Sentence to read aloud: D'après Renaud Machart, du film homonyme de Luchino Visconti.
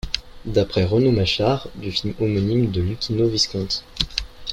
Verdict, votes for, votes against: accepted, 3, 0